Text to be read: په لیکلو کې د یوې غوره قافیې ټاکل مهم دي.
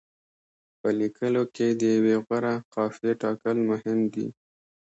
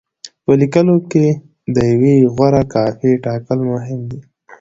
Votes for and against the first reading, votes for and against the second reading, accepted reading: 2, 0, 0, 2, first